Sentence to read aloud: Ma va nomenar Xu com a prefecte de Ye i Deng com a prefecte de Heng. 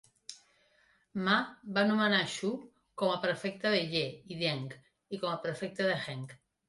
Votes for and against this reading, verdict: 2, 0, accepted